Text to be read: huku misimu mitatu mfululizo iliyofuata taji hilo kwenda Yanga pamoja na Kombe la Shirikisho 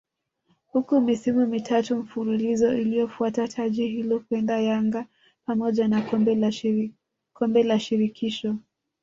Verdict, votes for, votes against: rejected, 1, 2